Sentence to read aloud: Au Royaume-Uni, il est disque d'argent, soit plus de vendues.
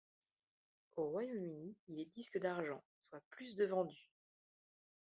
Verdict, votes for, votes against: rejected, 1, 2